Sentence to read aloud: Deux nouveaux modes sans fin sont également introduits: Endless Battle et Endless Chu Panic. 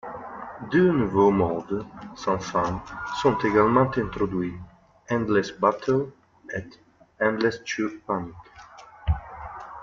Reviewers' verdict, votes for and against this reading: rejected, 0, 2